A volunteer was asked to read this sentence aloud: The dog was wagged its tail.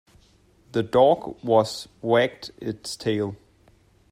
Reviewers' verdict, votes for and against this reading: accepted, 2, 0